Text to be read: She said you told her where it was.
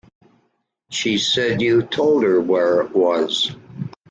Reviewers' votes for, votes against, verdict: 2, 0, accepted